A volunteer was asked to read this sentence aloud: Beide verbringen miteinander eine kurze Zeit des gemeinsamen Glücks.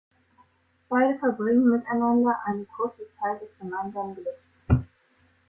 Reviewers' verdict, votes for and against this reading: accepted, 2, 0